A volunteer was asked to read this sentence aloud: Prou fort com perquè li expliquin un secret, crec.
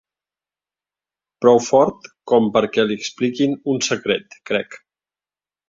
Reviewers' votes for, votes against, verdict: 2, 0, accepted